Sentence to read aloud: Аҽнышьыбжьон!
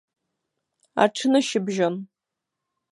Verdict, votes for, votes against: accepted, 4, 0